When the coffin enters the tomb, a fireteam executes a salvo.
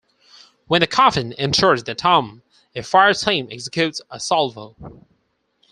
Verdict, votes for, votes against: rejected, 2, 4